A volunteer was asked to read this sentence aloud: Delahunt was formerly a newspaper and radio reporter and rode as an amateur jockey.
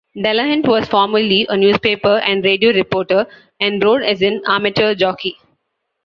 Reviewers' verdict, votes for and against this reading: accepted, 2, 1